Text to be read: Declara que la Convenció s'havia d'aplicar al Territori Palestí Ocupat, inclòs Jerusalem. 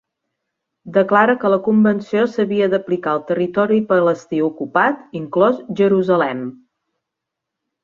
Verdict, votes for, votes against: accepted, 2, 0